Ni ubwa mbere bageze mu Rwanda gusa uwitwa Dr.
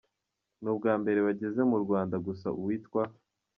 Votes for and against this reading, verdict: 0, 2, rejected